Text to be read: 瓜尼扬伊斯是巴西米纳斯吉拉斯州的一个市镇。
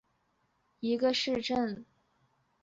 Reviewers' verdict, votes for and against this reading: rejected, 0, 2